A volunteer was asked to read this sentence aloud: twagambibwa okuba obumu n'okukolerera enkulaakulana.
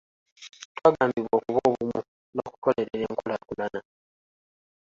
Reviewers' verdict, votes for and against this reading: rejected, 0, 2